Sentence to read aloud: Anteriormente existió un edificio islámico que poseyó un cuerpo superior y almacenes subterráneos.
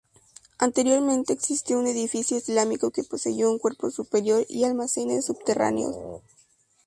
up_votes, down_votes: 2, 0